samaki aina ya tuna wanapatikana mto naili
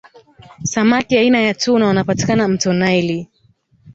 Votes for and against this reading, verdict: 0, 2, rejected